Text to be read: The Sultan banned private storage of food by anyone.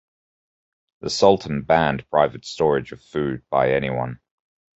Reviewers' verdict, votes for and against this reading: accepted, 2, 0